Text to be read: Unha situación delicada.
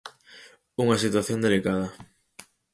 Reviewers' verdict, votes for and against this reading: accepted, 4, 0